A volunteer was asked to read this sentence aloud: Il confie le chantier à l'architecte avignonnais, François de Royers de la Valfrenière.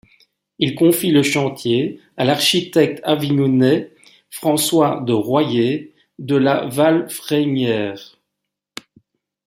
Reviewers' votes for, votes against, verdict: 2, 0, accepted